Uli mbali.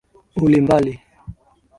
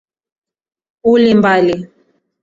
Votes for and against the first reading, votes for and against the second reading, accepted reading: 2, 0, 1, 2, first